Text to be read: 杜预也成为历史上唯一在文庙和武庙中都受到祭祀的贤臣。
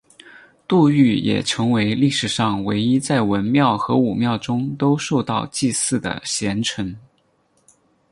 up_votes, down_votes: 4, 0